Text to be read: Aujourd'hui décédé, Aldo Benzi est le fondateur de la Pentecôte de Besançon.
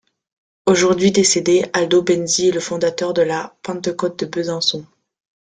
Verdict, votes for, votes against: rejected, 0, 2